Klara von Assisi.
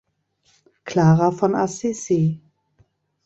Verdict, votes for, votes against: accepted, 2, 0